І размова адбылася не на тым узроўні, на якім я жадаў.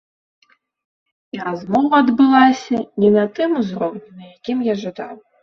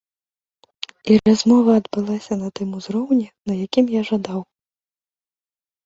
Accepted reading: first